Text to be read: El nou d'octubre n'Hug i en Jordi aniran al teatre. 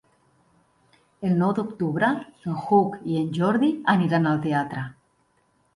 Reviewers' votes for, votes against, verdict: 1, 2, rejected